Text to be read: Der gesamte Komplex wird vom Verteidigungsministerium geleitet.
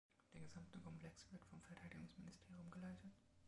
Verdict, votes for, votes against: rejected, 1, 4